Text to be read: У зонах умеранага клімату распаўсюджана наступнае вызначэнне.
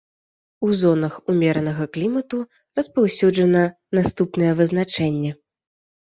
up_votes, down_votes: 2, 0